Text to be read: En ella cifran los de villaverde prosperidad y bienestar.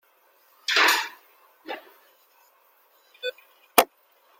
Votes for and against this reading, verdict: 0, 2, rejected